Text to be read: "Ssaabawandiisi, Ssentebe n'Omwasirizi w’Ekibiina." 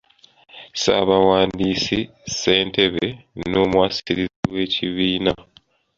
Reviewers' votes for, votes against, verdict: 1, 2, rejected